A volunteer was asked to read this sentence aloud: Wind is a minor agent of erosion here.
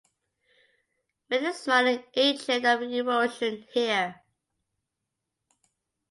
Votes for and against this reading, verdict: 1, 2, rejected